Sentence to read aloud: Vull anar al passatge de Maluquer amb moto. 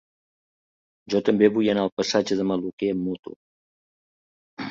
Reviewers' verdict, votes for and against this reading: rejected, 0, 2